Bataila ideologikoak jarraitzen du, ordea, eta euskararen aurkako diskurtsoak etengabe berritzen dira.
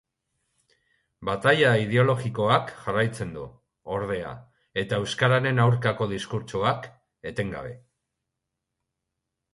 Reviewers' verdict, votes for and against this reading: rejected, 0, 2